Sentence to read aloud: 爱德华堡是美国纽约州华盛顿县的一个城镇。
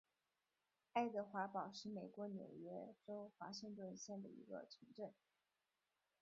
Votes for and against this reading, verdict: 1, 2, rejected